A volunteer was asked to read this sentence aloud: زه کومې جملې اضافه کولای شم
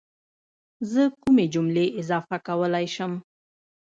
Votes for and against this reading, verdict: 0, 2, rejected